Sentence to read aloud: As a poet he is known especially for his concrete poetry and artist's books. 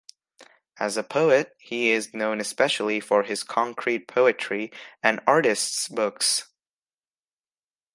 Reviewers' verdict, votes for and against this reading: accepted, 2, 0